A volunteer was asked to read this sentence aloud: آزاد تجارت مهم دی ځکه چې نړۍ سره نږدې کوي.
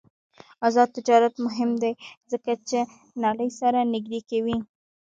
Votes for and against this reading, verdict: 0, 2, rejected